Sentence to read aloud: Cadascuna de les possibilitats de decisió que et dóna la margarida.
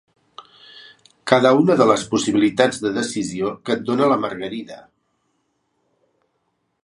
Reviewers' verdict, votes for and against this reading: rejected, 0, 2